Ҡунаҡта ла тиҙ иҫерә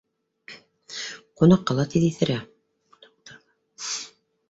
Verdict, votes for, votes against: rejected, 2, 3